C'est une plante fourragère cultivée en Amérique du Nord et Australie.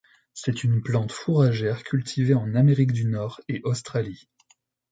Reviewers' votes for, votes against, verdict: 2, 0, accepted